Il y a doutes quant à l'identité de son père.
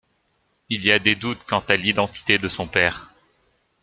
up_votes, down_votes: 1, 2